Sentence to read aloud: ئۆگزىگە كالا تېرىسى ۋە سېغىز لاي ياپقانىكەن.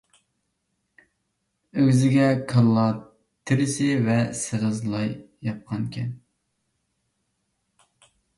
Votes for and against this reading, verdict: 1, 2, rejected